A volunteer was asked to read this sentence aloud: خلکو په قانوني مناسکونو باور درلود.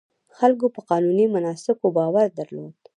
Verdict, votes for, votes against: rejected, 0, 2